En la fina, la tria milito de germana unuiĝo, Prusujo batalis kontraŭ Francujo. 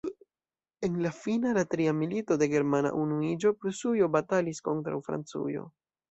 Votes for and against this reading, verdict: 2, 0, accepted